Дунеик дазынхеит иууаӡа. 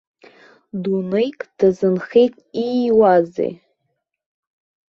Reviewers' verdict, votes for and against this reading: rejected, 0, 2